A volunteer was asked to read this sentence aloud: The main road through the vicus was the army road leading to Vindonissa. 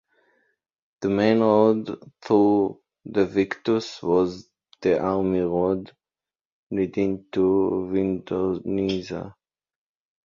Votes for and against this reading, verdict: 2, 1, accepted